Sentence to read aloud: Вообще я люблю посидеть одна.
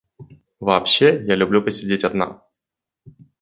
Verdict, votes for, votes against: accepted, 2, 0